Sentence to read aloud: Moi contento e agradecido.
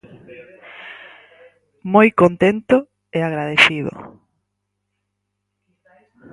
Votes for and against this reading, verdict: 2, 2, rejected